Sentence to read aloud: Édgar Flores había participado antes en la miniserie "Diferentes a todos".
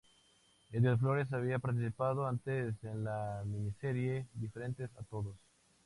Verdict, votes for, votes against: accepted, 2, 0